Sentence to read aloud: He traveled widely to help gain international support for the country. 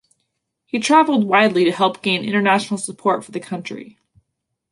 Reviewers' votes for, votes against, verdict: 2, 0, accepted